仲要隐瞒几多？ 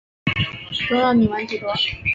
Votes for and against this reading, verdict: 6, 0, accepted